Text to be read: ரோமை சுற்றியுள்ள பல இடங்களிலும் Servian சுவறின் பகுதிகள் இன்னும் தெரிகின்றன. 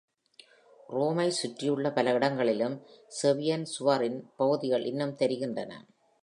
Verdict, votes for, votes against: accepted, 2, 0